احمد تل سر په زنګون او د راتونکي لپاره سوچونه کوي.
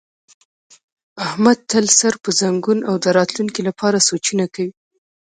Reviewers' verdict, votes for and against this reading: rejected, 1, 2